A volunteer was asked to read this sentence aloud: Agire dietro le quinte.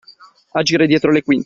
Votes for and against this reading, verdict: 1, 2, rejected